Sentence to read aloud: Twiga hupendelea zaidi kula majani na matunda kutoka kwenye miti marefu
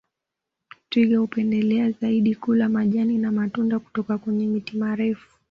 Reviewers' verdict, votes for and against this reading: accepted, 2, 0